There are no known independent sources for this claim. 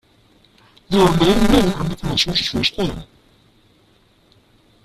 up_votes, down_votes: 0, 2